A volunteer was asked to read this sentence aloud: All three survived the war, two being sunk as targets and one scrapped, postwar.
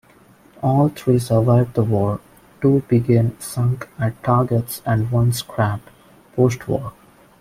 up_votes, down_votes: 1, 2